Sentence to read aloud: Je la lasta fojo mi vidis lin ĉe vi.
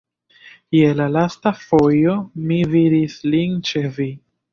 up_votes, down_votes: 0, 2